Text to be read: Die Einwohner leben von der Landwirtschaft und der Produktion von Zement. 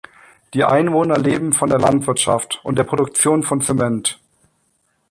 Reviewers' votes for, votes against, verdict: 2, 0, accepted